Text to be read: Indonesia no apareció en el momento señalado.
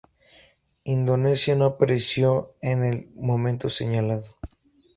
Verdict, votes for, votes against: accepted, 2, 0